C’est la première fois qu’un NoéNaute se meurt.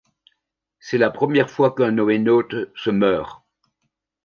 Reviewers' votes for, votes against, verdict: 2, 0, accepted